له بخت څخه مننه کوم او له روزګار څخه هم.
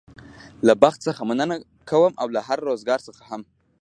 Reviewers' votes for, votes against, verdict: 0, 2, rejected